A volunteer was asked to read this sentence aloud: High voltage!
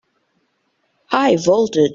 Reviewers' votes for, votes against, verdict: 0, 2, rejected